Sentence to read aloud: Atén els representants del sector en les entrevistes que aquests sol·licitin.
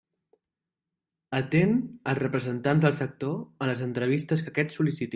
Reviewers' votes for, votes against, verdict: 1, 2, rejected